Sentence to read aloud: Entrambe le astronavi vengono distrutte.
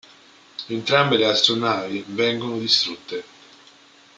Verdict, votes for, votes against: accepted, 3, 0